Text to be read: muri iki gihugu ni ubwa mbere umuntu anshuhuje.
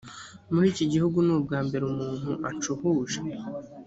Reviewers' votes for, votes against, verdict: 2, 0, accepted